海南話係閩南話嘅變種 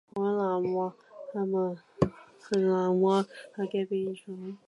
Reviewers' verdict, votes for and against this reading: rejected, 0, 2